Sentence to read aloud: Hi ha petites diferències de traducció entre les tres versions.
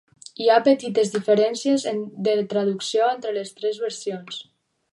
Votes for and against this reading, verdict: 0, 2, rejected